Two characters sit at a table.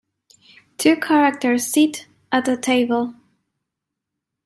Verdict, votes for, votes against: accepted, 2, 0